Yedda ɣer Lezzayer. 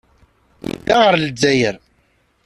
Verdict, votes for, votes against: rejected, 1, 2